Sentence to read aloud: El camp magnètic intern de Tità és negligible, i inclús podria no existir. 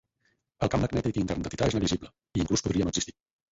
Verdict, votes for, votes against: rejected, 2, 4